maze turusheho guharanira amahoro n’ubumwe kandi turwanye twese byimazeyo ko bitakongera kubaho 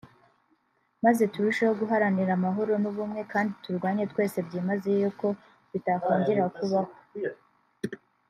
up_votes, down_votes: 1, 2